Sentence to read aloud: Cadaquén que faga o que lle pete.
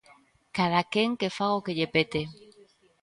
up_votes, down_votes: 2, 0